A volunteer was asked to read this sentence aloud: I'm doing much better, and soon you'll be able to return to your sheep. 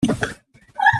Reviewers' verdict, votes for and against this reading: rejected, 0, 7